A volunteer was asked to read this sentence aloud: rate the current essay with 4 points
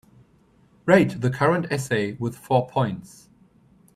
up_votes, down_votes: 0, 2